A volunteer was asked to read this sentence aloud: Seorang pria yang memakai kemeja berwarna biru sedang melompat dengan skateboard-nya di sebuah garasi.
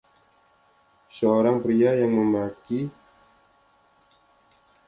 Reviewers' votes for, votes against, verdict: 0, 2, rejected